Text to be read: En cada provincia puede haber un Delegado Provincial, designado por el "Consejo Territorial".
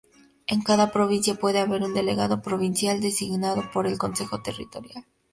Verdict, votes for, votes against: rejected, 0, 2